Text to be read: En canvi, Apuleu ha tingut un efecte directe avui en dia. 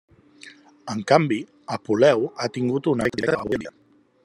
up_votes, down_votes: 0, 2